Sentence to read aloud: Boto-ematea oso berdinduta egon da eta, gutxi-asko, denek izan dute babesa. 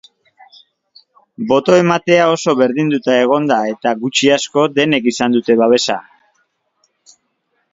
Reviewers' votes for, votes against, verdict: 2, 0, accepted